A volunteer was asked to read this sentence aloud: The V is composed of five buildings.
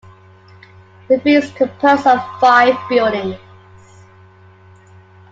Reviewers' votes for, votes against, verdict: 2, 0, accepted